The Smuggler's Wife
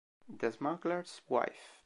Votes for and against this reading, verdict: 2, 0, accepted